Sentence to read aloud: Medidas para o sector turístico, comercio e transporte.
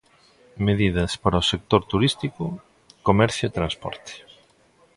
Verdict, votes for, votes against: accepted, 2, 0